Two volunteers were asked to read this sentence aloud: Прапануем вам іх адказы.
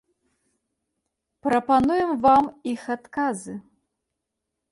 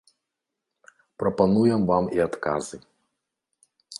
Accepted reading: first